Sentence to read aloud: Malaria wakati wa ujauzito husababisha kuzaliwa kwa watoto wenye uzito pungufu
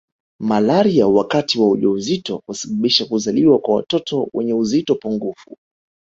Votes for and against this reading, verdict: 2, 1, accepted